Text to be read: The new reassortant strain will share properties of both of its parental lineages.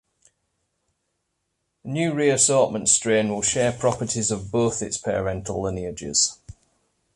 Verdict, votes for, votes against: rejected, 0, 2